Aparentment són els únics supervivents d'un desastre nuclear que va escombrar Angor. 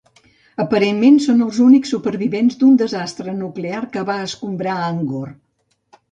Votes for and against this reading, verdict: 2, 0, accepted